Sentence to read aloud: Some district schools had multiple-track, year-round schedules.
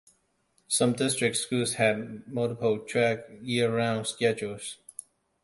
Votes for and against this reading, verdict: 2, 0, accepted